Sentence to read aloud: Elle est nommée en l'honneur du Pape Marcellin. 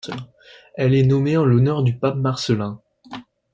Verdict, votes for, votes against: accepted, 2, 0